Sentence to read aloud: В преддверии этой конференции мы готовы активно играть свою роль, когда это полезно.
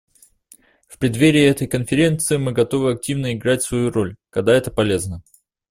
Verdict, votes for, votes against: accepted, 2, 0